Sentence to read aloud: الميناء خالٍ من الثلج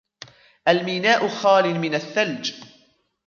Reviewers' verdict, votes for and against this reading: rejected, 2, 3